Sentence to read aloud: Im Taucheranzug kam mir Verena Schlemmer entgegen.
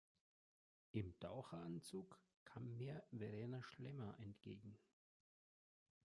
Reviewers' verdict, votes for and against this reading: rejected, 1, 2